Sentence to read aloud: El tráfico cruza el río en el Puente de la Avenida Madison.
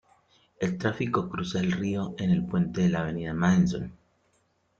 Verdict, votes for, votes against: accepted, 2, 0